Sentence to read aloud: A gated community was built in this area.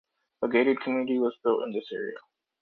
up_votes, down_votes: 2, 1